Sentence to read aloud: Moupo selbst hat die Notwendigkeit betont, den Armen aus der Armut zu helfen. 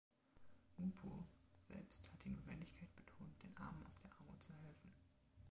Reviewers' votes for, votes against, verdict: 0, 3, rejected